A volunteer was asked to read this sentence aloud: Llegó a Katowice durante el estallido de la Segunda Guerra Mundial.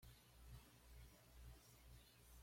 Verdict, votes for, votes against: rejected, 1, 2